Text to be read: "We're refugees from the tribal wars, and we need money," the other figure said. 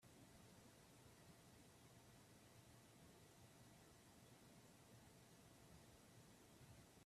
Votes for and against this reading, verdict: 0, 3, rejected